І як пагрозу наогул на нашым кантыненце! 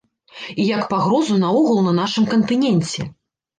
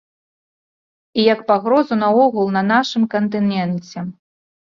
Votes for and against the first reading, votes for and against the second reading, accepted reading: 1, 2, 2, 0, second